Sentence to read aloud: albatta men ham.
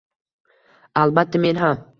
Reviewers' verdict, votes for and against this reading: rejected, 1, 2